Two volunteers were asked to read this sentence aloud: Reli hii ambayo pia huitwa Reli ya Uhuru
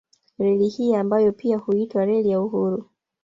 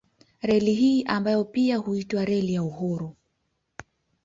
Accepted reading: second